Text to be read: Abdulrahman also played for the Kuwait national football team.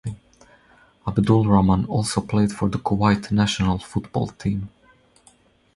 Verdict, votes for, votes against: rejected, 0, 2